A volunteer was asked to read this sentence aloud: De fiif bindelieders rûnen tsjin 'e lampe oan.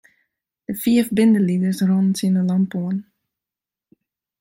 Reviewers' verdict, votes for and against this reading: rejected, 0, 2